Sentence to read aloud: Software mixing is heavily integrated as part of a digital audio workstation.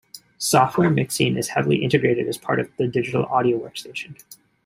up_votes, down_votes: 2, 1